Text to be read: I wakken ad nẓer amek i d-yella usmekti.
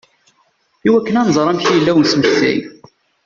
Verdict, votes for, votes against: rejected, 0, 2